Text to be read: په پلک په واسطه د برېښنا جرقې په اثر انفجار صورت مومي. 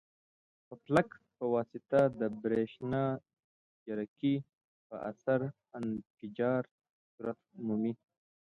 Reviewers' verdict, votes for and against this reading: rejected, 1, 2